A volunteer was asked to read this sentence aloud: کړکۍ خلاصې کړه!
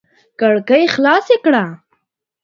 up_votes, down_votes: 2, 0